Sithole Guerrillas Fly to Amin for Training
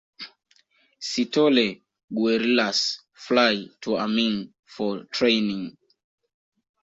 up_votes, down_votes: 2, 1